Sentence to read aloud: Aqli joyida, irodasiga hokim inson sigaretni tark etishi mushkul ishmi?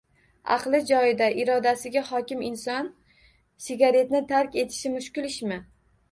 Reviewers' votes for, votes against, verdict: 1, 2, rejected